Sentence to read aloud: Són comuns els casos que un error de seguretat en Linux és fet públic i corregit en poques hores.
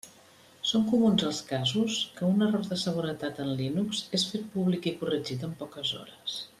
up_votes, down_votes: 2, 0